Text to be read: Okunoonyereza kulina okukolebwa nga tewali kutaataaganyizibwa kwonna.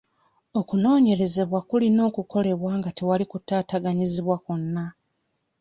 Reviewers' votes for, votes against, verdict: 1, 2, rejected